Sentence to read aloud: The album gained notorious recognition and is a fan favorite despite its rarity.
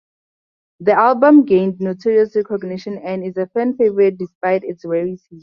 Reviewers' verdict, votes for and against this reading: accepted, 6, 2